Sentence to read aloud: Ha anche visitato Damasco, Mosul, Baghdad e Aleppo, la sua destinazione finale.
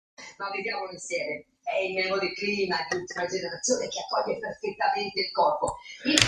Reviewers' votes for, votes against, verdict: 0, 2, rejected